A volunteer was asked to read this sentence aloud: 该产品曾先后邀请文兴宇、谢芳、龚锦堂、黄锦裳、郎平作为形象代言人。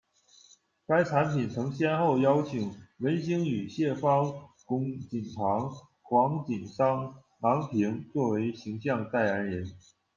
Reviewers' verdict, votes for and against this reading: rejected, 1, 2